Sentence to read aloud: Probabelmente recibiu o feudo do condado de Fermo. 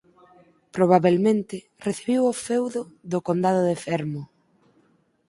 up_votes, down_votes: 2, 4